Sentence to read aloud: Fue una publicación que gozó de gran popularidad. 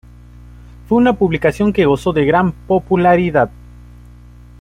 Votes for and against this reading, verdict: 2, 0, accepted